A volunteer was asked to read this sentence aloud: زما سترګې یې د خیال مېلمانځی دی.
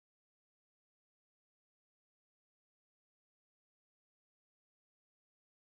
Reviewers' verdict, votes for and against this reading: accepted, 4, 0